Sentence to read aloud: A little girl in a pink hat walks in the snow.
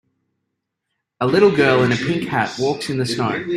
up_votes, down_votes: 2, 1